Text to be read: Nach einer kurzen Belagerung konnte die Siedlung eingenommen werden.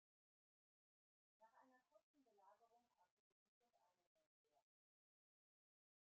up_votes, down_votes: 0, 2